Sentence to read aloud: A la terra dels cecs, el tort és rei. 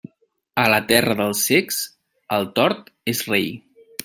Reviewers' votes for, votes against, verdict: 2, 0, accepted